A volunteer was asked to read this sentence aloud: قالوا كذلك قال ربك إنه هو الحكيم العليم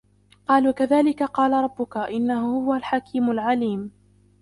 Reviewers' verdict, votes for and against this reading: rejected, 0, 2